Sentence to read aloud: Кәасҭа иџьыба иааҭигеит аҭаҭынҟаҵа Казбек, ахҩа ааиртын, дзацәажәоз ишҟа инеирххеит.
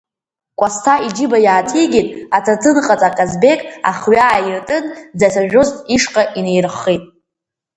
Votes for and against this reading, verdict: 1, 2, rejected